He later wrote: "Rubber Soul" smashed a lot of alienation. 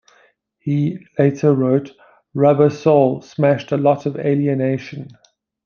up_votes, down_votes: 2, 0